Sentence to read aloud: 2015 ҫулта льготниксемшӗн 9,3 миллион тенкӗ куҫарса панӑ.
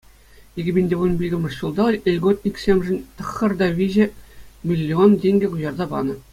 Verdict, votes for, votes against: rejected, 0, 2